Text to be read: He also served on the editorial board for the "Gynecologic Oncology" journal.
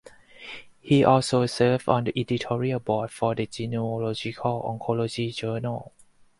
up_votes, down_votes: 0, 4